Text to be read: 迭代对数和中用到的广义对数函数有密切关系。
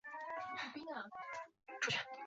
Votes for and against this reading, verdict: 0, 2, rejected